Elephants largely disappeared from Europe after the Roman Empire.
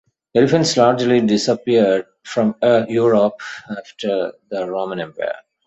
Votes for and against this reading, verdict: 2, 1, accepted